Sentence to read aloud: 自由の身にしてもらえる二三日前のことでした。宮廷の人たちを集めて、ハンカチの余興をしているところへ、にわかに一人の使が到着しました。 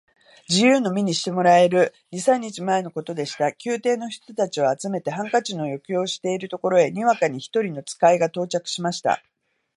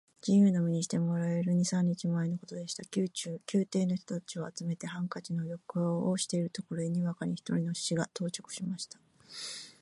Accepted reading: first